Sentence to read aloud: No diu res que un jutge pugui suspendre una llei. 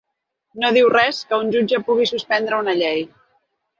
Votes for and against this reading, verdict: 3, 0, accepted